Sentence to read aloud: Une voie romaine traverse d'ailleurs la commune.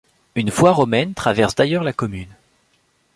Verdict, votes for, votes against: accepted, 2, 0